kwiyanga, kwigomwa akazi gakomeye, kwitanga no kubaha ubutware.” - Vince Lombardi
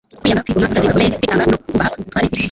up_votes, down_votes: 1, 2